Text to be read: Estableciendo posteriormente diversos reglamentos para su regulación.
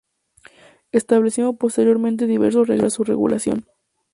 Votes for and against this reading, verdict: 0, 2, rejected